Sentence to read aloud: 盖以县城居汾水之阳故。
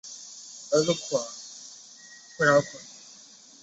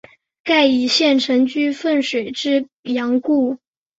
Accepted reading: second